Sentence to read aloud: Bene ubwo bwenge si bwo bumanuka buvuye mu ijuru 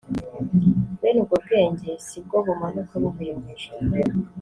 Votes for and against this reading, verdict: 0, 2, rejected